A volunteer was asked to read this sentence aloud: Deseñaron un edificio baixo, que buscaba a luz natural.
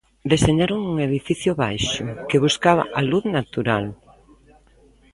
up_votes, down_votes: 1, 2